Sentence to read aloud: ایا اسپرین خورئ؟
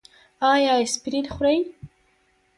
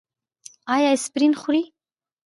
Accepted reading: first